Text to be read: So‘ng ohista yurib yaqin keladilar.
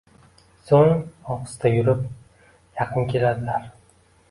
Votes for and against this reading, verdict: 2, 1, accepted